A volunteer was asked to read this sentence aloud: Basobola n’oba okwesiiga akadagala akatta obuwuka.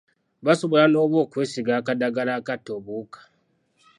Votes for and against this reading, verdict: 2, 0, accepted